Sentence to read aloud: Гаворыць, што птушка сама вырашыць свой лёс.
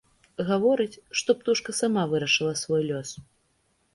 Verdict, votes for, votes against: rejected, 0, 2